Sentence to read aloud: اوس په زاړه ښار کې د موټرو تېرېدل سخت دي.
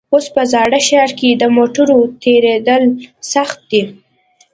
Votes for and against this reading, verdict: 2, 0, accepted